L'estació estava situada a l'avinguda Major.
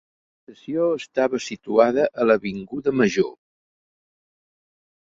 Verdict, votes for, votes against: rejected, 0, 2